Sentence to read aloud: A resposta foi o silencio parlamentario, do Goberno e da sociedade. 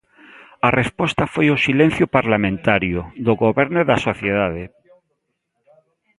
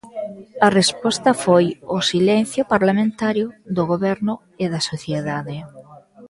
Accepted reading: first